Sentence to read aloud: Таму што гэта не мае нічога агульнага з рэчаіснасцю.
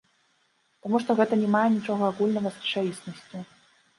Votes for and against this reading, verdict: 0, 2, rejected